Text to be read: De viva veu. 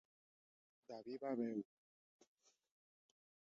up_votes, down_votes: 1, 2